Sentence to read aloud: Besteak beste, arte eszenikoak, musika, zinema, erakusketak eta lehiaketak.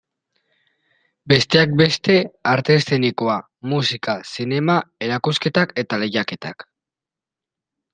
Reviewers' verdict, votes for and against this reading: accepted, 2, 0